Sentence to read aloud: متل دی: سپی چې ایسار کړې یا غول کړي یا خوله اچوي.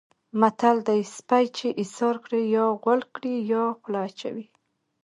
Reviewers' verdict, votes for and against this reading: rejected, 1, 2